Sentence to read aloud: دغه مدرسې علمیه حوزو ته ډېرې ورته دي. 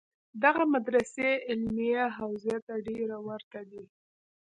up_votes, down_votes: 2, 1